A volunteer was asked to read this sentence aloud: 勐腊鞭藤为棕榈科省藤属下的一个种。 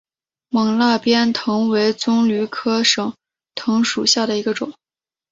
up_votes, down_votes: 6, 2